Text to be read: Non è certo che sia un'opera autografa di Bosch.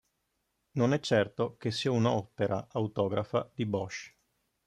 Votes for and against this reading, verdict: 2, 0, accepted